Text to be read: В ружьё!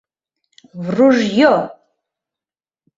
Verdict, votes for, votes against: accepted, 2, 0